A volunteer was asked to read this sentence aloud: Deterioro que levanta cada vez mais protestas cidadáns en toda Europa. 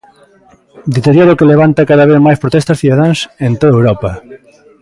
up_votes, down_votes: 2, 0